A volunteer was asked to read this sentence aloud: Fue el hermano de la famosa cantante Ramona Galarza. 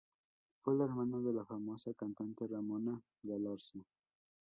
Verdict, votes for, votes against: rejected, 0, 2